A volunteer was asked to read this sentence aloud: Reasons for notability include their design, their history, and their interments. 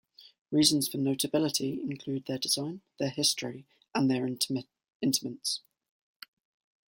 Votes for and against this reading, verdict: 0, 2, rejected